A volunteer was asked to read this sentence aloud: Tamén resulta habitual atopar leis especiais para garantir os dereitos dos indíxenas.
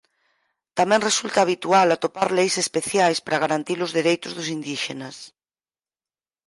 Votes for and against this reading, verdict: 4, 0, accepted